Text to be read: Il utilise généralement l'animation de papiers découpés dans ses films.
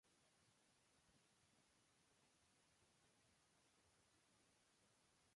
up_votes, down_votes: 0, 2